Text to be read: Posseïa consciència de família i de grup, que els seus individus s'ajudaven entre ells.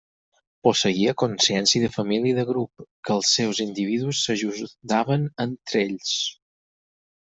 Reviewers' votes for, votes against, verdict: 0, 4, rejected